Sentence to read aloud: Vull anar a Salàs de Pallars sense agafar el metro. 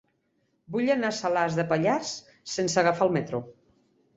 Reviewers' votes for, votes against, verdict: 3, 0, accepted